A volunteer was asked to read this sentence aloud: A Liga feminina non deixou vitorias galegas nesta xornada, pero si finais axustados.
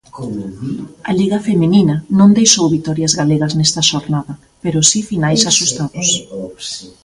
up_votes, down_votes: 1, 2